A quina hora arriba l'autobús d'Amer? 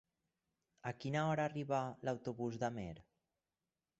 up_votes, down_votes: 4, 0